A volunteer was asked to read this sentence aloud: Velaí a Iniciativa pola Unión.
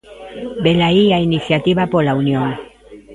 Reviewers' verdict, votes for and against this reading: rejected, 1, 2